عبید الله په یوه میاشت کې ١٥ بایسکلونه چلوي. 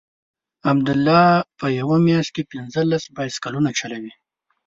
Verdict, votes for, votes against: rejected, 0, 2